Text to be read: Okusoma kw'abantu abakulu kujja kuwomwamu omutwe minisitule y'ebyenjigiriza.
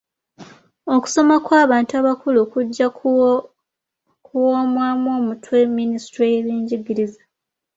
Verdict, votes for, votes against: accepted, 2, 0